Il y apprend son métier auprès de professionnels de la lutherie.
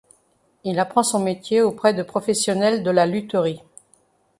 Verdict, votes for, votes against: rejected, 0, 2